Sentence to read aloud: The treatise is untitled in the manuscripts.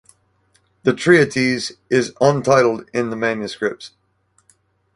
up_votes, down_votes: 2, 2